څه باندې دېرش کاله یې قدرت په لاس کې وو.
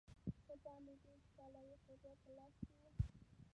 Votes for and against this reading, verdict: 1, 2, rejected